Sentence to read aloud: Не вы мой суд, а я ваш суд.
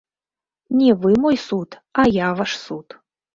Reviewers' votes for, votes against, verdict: 0, 2, rejected